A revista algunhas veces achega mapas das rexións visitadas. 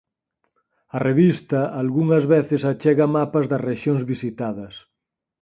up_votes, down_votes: 4, 0